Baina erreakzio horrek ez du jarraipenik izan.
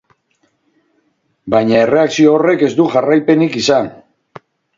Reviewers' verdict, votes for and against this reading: rejected, 2, 2